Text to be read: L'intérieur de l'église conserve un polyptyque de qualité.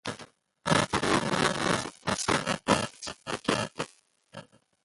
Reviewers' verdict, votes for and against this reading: rejected, 0, 2